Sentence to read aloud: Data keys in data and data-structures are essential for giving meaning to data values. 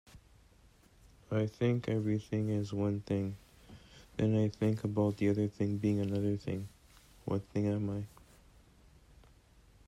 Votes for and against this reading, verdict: 0, 2, rejected